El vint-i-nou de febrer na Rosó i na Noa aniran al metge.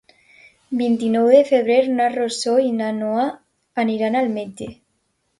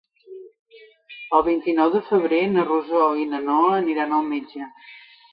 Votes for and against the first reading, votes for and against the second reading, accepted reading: 1, 2, 3, 0, second